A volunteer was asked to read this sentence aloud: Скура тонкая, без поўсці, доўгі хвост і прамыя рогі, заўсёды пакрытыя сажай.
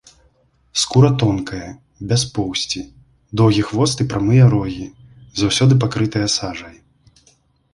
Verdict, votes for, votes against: accepted, 3, 0